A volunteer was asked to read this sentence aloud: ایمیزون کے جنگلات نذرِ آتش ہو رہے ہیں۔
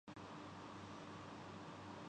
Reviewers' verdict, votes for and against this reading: rejected, 0, 2